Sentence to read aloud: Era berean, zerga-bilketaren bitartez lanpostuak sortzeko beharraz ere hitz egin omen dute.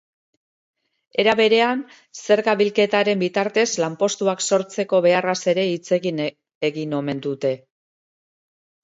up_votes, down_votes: 0, 2